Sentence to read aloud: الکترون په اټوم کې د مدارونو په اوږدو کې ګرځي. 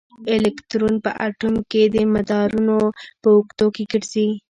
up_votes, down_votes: 0, 2